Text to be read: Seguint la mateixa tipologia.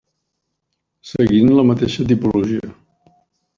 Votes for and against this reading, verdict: 3, 1, accepted